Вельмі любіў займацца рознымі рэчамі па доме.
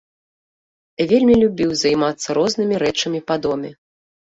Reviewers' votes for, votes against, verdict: 2, 0, accepted